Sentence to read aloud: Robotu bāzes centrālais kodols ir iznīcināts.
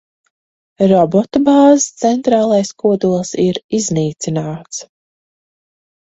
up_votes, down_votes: 6, 2